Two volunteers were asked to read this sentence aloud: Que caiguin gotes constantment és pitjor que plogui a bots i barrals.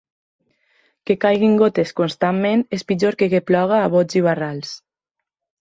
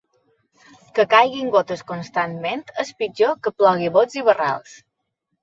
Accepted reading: second